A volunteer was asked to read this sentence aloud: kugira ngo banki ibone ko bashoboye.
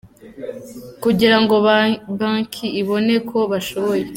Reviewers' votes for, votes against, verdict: 0, 2, rejected